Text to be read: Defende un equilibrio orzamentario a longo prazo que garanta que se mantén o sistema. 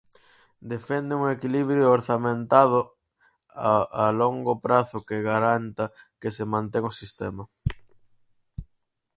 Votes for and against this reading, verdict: 2, 4, rejected